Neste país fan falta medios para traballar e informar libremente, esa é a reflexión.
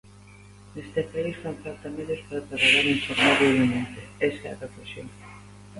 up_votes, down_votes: 2, 0